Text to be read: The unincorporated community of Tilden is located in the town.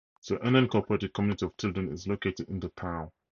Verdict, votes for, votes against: rejected, 2, 2